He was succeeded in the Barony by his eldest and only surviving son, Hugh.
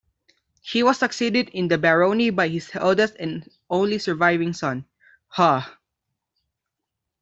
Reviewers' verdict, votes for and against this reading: rejected, 0, 2